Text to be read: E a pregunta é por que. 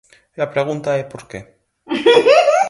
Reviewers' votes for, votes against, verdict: 0, 4, rejected